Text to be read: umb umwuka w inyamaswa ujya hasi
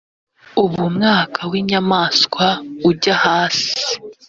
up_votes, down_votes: 1, 2